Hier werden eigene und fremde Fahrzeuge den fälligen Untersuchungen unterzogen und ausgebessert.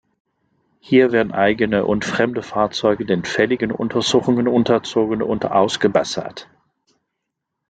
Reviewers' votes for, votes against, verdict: 2, 0, accepted